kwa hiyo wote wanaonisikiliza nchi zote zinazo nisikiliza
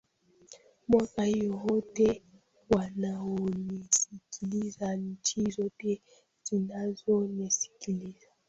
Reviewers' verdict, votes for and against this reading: rejected, 0, 2